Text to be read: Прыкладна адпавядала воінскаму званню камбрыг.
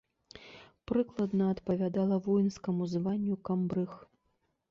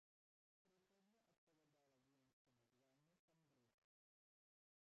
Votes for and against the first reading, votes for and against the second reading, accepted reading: 2, 0, 0, 2, first